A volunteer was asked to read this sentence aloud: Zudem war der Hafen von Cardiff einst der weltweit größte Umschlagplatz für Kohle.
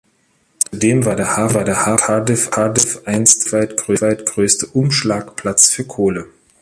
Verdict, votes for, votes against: rejected, 0, 2